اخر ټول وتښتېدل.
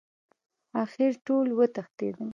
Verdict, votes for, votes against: accepted, 2, 0